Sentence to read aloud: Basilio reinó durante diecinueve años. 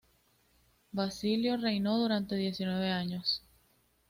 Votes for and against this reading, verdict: 2, 0, accepted